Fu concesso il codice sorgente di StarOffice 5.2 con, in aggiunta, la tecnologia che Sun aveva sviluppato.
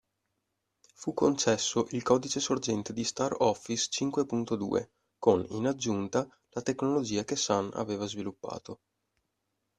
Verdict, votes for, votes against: rejected, 0, 2